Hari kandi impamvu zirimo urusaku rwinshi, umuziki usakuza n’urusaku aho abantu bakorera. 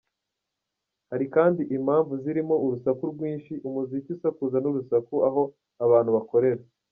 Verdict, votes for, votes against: accepted, 2, 0